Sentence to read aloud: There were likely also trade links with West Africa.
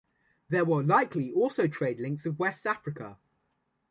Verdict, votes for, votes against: accepted, 2, 0